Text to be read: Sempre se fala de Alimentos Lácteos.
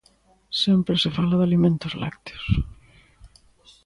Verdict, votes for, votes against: accepted, 2, 0